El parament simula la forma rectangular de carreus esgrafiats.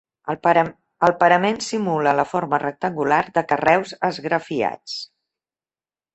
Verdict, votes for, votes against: rejected, 0, 2